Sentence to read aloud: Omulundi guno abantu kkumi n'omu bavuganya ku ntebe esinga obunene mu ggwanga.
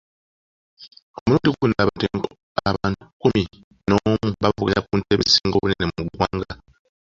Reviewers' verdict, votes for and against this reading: accepted, 2, 1